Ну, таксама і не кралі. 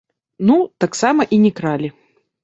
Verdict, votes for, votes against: accepted, 2, 0